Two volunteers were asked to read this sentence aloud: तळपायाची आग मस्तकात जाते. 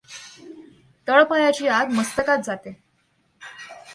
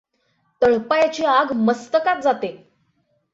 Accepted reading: second